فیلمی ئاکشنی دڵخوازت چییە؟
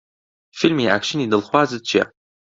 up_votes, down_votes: 2, 0